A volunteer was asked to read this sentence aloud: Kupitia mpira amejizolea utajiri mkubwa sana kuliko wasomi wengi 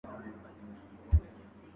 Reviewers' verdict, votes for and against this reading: rejected, 0, 2